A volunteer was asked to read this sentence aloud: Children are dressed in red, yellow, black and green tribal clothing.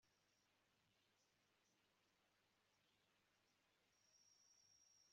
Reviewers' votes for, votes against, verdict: 0, 2, rejected